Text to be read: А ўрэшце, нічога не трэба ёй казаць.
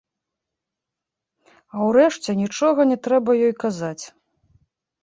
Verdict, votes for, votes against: rejected, 1, 2